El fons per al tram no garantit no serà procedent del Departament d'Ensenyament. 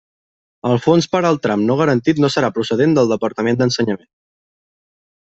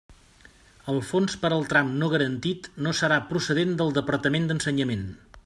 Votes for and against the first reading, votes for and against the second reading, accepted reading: 1, 2, 3, 0, second